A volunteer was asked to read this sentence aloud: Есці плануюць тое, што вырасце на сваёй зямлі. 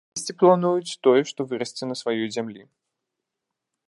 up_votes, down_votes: 0, 2